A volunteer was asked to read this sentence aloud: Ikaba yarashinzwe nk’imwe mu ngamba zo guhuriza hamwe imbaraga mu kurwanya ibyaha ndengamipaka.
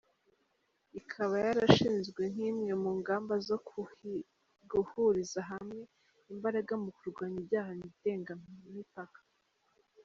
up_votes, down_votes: 1, 4